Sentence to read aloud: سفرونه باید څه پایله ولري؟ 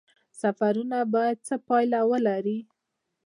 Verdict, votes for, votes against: accepted, 2, 1